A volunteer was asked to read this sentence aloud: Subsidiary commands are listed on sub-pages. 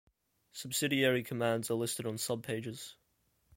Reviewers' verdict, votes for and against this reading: accepted, 2, 0